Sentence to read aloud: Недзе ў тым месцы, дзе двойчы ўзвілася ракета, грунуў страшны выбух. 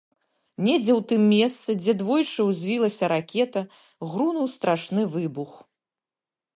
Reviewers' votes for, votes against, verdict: 0, 2, rejected